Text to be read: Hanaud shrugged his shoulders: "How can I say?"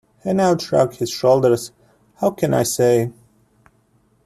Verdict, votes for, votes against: rejected, 1, 2